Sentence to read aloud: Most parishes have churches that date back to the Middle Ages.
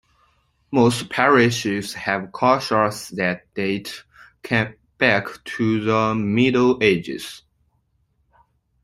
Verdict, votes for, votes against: rejected, 0, 2